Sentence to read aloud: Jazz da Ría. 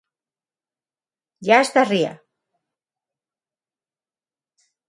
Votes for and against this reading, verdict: 6, 0, accepted